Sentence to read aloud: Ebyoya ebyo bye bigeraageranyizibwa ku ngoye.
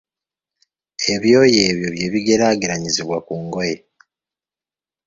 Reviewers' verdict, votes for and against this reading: accepted, 2, 0